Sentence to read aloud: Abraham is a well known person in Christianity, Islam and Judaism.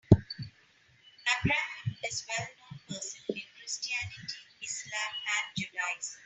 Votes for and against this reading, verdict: 0, 3, rejected